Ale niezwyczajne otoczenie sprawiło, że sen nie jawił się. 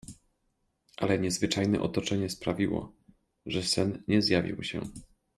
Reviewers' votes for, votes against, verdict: 0, 2, rejected